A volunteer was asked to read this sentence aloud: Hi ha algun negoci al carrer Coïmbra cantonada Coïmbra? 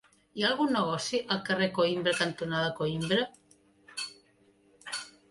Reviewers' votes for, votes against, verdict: 3, 1, accepted